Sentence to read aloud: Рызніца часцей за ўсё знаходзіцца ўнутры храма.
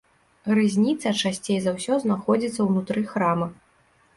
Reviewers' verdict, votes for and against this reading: rejected, 1, 2